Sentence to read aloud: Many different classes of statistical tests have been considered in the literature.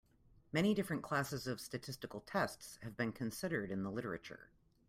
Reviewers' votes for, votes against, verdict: 2, 0, accepted